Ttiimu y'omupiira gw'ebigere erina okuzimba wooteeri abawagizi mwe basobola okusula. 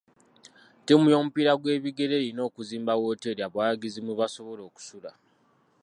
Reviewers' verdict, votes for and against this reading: rejected, 1, 2